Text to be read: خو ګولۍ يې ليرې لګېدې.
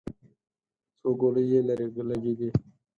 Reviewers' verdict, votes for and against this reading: accepted, 4, 0